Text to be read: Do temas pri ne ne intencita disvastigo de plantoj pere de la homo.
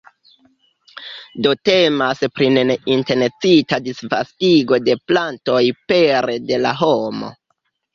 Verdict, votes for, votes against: accepted, 2, 0